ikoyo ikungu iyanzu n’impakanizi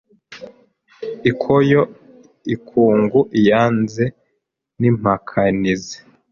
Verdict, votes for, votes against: accepted, 2, 0